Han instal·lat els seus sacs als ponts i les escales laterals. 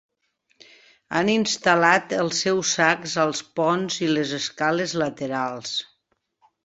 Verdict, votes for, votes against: accepted, 3, 0